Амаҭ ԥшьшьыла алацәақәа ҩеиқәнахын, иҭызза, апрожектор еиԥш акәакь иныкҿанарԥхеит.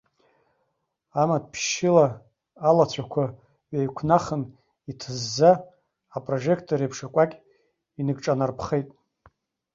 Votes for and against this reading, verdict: 1, 2, rejected